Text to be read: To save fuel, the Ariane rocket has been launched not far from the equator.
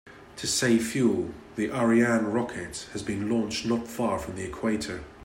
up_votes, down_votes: 2, 0